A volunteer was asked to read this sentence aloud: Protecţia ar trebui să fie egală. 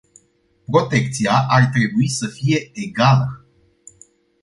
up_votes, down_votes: 2, 0